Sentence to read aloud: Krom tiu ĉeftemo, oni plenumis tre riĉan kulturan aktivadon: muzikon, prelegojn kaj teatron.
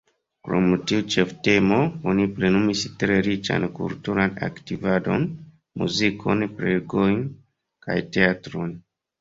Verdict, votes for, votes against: accepted, 2, 1